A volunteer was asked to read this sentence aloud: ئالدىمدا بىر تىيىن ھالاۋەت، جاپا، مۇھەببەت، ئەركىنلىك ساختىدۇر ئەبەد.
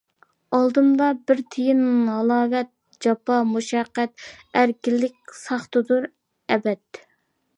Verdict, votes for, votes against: rejected, 0, 2